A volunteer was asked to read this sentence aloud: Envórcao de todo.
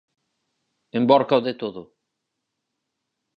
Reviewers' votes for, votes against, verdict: 2, 4, rejected